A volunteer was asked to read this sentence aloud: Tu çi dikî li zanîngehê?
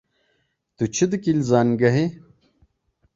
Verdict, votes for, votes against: accepted, 2, 0